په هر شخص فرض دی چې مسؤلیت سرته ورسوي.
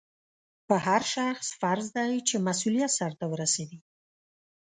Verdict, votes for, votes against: accepted, 2, 0